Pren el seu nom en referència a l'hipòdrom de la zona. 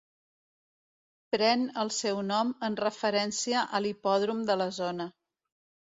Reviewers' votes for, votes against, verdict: 2, 0, accepted